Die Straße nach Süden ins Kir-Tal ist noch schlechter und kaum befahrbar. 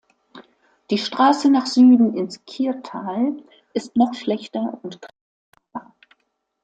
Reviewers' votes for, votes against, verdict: 0, 2, rejected